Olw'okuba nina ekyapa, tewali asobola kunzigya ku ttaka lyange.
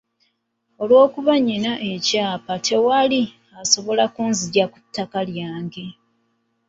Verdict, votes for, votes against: rejected, 1, 2